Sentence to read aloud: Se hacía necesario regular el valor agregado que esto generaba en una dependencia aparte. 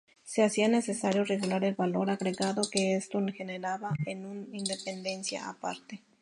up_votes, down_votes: 2, 0